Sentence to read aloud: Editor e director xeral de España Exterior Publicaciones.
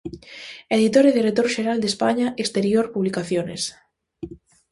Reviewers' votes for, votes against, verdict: 2, 0, accepted